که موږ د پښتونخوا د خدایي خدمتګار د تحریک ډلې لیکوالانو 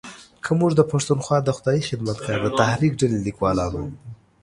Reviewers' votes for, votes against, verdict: 1, 3, rejected